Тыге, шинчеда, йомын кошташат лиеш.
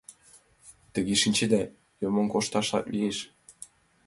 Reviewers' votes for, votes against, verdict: 2, 0, accepted